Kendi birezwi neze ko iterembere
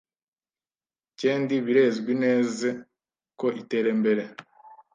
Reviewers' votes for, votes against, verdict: 1, 2, rejected